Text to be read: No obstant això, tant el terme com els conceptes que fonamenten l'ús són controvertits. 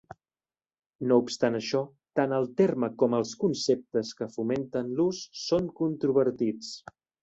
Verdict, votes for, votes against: rejected, 1, 2